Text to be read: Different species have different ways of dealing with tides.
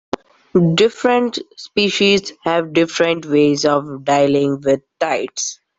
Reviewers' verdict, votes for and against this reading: rejected, 0, 2